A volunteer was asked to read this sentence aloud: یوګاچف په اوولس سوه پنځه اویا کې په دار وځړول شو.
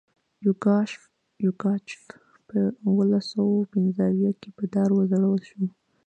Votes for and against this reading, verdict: 0, 2, rejected